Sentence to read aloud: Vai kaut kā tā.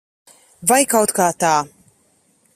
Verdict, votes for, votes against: accepted, 2, 0